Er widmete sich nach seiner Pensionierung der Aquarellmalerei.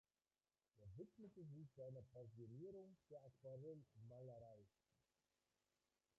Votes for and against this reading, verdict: 0, 2, rejected